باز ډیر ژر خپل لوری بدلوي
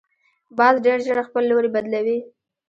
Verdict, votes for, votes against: rejected, 0, 2